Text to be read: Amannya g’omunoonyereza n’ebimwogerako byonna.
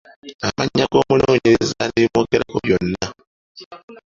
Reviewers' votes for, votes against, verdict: 2, 0, accepted